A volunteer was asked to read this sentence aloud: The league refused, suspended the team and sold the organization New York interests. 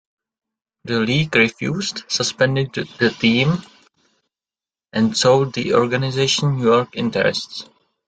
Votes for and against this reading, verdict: 2, 0, accepted